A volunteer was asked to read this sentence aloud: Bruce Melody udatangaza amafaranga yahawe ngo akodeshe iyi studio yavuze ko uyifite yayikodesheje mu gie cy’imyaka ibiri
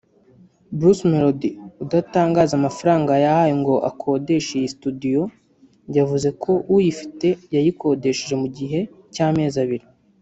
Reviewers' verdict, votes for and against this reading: rejected, 1, 2